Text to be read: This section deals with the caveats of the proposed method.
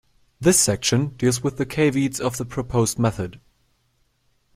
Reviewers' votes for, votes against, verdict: 2, 0, accepted